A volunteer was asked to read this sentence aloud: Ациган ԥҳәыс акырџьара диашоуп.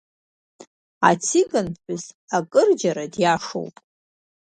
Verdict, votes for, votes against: accepted, 2, 0